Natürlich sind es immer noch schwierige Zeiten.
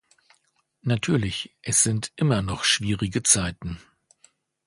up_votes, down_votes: 1, 2